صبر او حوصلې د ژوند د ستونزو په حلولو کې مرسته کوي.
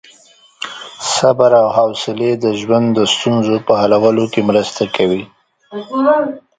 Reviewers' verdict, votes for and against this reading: accepted, 2, 0